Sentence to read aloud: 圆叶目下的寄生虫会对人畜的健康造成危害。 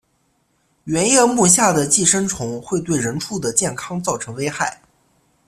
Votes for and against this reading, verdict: 2, 0, accepted